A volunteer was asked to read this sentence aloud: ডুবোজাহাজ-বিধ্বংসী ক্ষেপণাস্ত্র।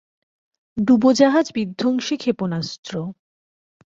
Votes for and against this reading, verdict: 2, 0, accepted